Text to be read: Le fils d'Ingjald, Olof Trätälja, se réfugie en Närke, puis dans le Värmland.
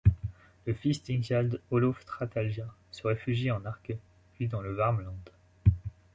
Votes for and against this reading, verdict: 2, 0, accepted